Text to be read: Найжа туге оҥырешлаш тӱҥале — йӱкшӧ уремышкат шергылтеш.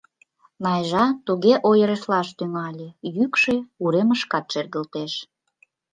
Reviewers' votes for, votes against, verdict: 1, 2, rejected